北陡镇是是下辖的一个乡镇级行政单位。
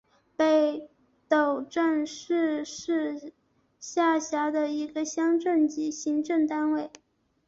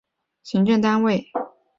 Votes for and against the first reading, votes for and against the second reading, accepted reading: 2, 1, 1, 2, first